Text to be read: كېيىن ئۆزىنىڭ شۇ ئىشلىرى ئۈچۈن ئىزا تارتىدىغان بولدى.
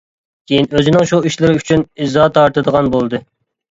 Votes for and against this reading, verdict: 2, 0, accepted